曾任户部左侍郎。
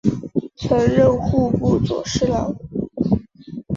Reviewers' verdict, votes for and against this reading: accepted, 2, 0